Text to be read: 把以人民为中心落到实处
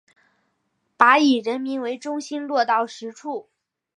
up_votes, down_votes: 2, 0